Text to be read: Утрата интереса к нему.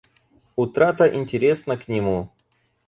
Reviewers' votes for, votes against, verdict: 0, 4, rejected